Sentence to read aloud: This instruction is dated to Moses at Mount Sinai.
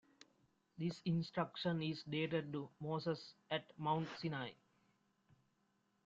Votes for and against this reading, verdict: 2, 1, accepted